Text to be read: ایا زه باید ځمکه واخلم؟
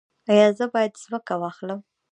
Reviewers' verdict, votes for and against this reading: rejected, 0, 2